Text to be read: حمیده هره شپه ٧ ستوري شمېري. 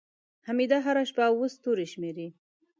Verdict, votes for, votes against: rejected, 0, 2